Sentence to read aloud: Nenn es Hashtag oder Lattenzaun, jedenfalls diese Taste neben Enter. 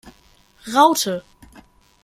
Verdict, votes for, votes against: rejected, 0, 2